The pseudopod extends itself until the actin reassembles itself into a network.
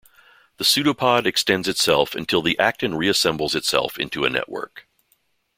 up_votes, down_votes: 2, 0